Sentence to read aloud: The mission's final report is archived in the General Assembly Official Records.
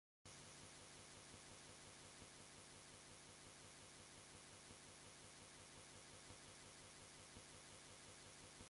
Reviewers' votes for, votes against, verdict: 0, 2, rejected